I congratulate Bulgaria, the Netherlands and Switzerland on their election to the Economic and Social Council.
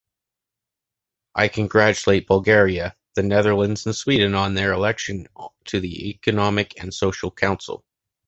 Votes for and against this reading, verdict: 0, 2, rejected